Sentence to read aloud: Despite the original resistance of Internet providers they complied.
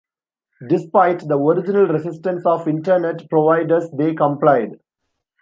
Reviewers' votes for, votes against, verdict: 1, 2, rejected